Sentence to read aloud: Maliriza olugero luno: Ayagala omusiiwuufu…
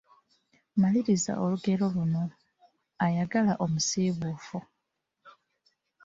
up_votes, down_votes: 2, 1